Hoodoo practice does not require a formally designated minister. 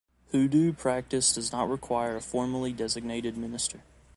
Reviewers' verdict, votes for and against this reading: accepted, 2, 0